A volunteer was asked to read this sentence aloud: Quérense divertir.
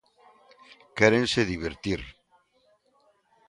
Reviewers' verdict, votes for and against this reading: accepted, 3, 0